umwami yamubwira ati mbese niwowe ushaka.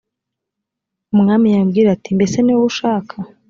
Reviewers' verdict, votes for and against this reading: accepted, 2, 0